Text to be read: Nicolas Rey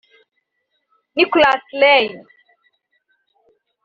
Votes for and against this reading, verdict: 2, 1, accepted